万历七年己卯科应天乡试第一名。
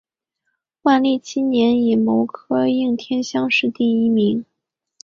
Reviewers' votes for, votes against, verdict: 4, 0, accepted